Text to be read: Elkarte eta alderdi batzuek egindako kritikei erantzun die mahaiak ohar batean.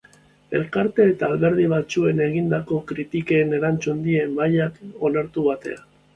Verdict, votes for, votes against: rejected, 1, 2